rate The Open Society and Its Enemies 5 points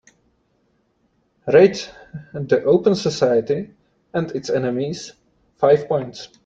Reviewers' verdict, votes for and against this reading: rejected, 0, 2